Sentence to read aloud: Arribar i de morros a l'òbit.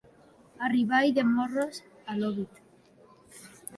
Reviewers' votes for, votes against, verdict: 1, 2, rejected